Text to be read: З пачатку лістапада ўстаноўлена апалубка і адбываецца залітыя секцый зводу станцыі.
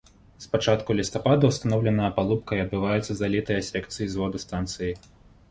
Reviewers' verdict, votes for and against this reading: accepted, 2, 1